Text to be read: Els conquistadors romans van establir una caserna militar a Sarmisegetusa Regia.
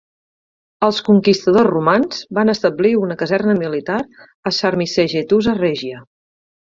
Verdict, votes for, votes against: accepted, 4, 0